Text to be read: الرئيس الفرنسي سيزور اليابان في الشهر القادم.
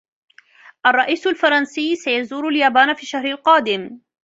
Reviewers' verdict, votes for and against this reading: accepted, 2, 0